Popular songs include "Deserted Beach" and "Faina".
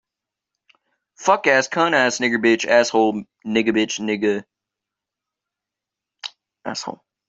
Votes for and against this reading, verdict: 0, 2, rejected